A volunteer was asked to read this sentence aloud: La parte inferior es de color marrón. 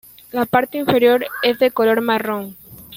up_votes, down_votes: 0, 2